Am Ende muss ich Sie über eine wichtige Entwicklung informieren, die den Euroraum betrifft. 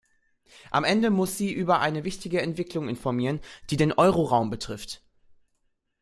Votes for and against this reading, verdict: 0, 2, rejected